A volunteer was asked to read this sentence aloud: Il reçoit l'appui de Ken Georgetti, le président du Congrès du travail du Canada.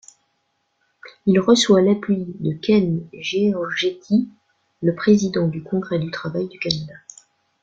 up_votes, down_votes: 0, 2